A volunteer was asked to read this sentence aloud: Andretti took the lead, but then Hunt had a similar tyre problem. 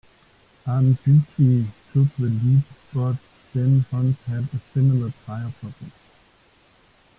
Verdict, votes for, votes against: rejected, 1, 2